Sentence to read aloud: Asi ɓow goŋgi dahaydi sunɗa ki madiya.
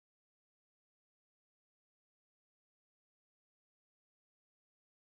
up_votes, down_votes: 0, 2